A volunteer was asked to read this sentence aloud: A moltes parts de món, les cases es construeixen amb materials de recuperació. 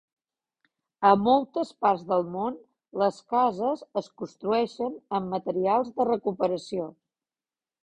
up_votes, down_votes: 0, 2